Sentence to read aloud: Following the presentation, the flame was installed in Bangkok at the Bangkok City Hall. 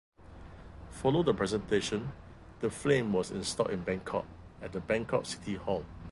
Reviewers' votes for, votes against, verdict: 1, 2, rejected